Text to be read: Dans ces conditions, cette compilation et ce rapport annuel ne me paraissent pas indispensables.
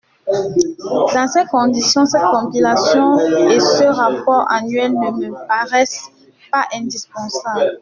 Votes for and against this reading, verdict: 2, 0, accepted